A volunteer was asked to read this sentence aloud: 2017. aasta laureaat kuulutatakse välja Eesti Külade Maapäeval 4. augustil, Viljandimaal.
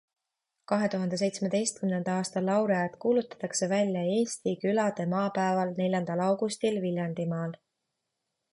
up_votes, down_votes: 0, 2